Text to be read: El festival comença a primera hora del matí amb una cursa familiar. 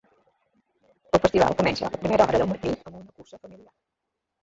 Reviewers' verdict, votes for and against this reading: rejected, 0, 2